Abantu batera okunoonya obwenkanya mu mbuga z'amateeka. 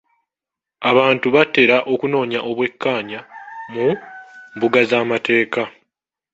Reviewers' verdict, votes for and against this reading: rejected, 0, 2